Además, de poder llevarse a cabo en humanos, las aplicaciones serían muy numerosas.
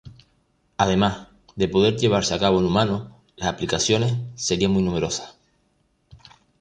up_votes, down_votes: 0, 2